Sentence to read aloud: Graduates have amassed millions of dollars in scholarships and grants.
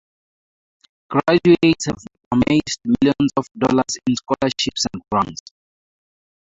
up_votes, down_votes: 4, 0